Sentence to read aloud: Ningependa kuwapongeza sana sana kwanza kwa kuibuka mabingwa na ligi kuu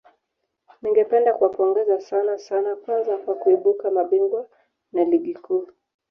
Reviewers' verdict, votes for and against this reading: accepted, 2, 1